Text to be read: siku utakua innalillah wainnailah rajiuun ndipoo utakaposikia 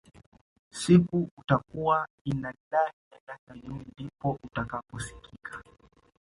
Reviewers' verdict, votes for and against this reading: accepted, 2, 1